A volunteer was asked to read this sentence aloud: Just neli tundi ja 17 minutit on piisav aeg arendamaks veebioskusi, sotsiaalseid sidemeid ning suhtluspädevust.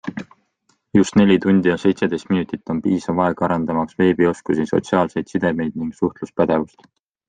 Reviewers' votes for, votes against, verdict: 0, 2, rejected